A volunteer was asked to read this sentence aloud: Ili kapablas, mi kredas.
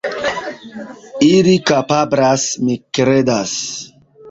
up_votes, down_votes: 1, 2